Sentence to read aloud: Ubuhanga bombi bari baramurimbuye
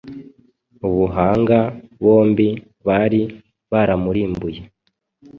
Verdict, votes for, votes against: accepted, 2, 0